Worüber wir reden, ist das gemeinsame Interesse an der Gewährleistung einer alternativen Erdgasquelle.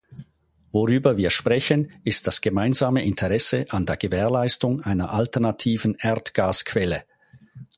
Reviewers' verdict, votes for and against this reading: rejected, 0, 4